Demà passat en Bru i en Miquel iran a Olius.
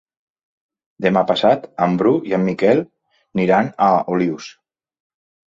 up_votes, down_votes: 1, 2